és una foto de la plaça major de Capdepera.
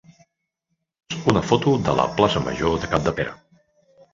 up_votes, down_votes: 1, 3